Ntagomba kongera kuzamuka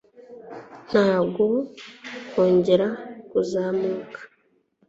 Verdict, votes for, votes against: rejected, 1, 2